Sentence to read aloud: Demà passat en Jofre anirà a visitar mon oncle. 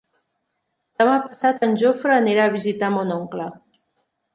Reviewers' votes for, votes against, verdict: 3, 0, accepted